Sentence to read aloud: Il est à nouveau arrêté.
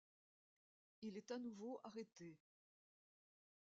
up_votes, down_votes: 0, 2